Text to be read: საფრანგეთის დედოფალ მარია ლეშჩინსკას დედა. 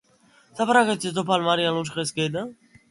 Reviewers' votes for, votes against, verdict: 0, 2, rejected